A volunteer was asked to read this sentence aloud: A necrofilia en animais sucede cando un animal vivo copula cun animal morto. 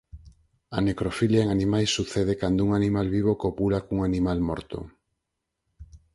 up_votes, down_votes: 4, 0